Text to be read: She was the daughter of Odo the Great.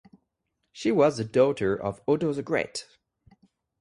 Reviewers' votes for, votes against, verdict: 2, 2, rejected